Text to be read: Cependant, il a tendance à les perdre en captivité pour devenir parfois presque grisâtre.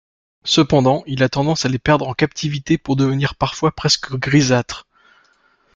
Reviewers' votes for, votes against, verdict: 1, 2, rejected